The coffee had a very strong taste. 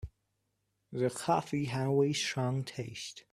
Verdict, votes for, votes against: rejected, 1, 2